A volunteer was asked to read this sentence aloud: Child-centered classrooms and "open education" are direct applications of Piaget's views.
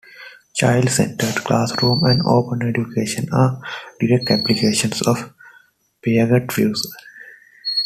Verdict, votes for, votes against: accepted, 2, 0